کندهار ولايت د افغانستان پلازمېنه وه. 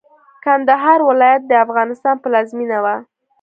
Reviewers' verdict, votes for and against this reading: accepted, 2, 0